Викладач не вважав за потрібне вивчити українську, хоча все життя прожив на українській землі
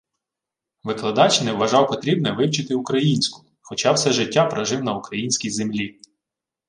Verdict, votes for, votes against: rejected, 0, 2